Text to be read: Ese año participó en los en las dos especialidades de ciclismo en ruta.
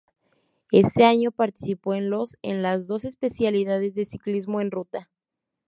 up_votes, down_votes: 2, 0